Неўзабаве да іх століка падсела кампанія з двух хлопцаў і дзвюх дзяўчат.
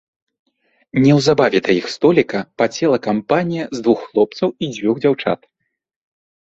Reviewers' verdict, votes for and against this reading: accepted, 2, 0